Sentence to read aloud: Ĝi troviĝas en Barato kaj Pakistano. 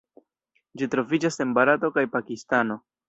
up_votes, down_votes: 0, 2